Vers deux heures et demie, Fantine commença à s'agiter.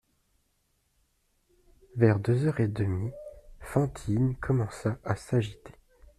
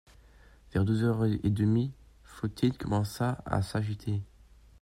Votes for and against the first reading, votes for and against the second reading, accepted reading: 2, 0, 0, 2, first